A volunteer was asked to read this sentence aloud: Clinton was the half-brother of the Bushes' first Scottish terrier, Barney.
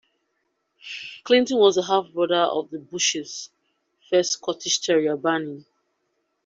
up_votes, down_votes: 2, 0